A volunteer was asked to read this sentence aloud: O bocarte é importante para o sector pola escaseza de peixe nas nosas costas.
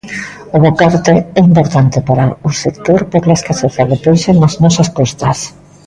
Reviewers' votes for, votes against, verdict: 2, 1, accepted